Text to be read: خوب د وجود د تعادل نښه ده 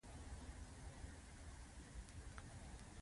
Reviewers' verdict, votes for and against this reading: accepted, 2, 0